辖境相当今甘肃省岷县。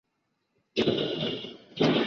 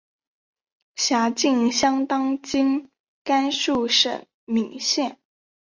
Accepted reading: second